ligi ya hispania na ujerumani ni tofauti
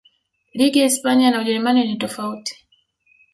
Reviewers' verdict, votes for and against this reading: accepted, 2, 0